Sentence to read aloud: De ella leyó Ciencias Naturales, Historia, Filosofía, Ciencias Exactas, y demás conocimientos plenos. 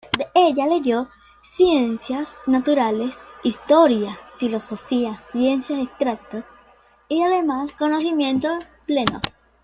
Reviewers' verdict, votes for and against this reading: rejected, 0, 2